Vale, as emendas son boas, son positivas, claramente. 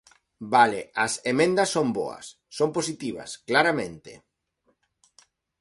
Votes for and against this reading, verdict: 2, 0, accepted